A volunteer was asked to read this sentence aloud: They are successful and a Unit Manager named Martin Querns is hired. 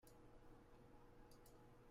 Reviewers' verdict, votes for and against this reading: rejected, 0, 2